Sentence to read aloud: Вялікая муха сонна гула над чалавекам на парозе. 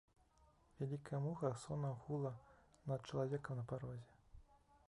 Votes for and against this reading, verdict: 2, 3, rejected